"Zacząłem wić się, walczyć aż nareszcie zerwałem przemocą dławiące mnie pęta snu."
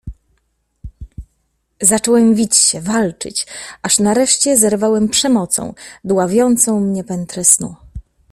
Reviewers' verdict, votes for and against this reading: rejected, 0, 2